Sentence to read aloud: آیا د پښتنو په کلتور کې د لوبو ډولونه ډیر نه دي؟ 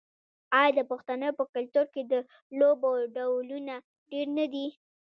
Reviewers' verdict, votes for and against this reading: rejected, 1, 2